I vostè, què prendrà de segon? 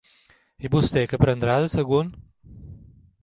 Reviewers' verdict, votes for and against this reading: accepted, 2, 1